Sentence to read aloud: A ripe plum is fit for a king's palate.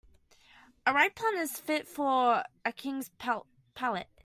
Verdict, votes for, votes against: rejected, 1, 2